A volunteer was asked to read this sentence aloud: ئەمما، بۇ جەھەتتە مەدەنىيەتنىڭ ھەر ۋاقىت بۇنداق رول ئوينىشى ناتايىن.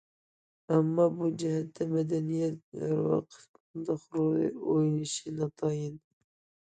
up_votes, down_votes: 0, 2